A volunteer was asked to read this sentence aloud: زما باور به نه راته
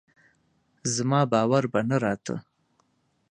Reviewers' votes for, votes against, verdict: 2, 0, accepted